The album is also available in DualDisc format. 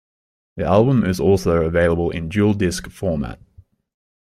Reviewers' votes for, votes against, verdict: 2, 0, accepted